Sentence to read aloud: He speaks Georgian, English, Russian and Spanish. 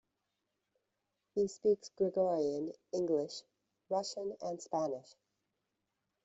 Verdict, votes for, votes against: rejected, 1, 2